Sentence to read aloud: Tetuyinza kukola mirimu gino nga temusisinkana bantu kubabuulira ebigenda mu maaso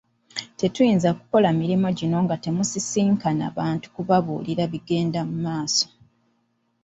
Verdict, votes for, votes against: rejected, 0, 2